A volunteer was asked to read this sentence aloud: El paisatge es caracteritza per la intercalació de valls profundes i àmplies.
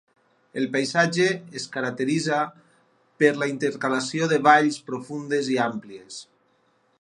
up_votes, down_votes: 4, 0